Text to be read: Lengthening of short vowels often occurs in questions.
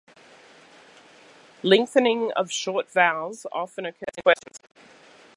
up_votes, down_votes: 0, 2